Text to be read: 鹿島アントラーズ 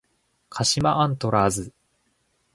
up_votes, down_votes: 1, 2